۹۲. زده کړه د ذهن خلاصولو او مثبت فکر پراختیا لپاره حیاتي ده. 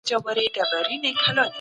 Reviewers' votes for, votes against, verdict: 0, 2, rejected